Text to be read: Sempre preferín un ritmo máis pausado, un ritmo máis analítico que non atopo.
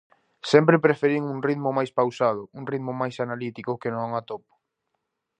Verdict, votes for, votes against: accepted, 2, 0